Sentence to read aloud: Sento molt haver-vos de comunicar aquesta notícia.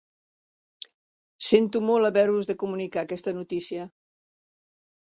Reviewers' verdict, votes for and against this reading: accepted, 2, 1